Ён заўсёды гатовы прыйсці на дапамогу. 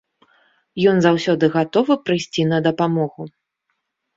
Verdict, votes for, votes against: accepted, 2, 0